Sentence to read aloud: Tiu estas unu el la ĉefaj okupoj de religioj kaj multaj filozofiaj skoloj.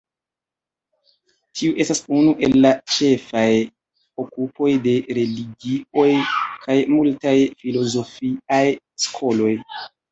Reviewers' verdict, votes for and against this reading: rejected, 0, 2